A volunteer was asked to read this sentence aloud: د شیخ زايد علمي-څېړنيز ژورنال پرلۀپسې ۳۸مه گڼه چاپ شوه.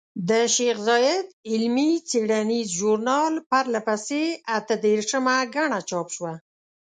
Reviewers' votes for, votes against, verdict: 0, 2, rejected